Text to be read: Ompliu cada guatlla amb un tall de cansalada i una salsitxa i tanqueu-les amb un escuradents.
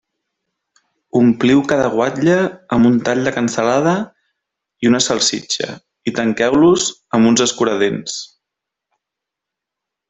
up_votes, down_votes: 0, 2